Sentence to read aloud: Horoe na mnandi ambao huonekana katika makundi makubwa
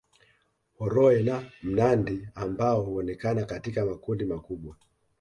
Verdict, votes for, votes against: accepted, 2, 0